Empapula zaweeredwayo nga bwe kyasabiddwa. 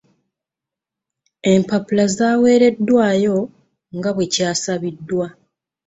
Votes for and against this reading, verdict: 2, 0, accepted